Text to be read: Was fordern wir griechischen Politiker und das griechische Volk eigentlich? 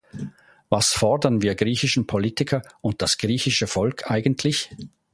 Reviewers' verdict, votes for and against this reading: accepted, 2, 0